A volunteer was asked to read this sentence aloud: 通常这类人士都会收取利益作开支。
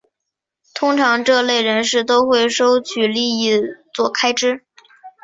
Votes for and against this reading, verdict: 2, 0, accepted